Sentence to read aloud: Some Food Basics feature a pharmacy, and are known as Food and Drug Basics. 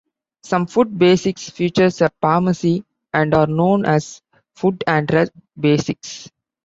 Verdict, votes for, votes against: accepted, 2, 1